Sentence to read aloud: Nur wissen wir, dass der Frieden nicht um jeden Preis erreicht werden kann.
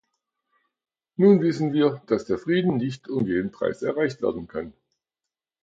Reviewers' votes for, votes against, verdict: 1, 2, rejected